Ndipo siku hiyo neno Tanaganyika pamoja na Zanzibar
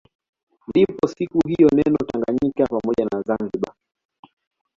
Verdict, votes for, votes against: accepted, 2, 0